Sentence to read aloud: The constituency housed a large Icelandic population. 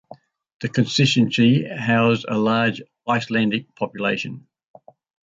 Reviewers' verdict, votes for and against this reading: accepted, 4, 1